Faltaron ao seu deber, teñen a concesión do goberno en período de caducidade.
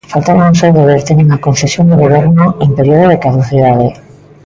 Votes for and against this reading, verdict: 0, 2, rejected